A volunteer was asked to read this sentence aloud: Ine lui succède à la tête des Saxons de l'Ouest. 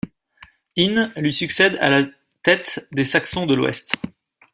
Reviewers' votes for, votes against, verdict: 2, 0, accepted